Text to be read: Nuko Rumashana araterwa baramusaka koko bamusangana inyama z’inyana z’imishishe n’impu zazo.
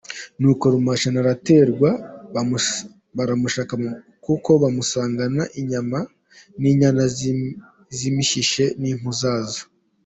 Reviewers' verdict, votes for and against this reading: rejected, 1, 2